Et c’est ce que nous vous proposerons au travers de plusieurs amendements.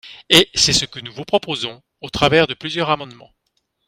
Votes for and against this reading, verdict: 2, 1, accepted